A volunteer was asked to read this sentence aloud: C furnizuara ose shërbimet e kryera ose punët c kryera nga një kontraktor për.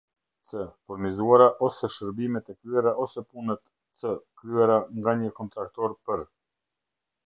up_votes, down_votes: 0, 2